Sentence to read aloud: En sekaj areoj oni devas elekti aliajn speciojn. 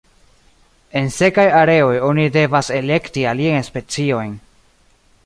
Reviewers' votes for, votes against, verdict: 1, 2, rejected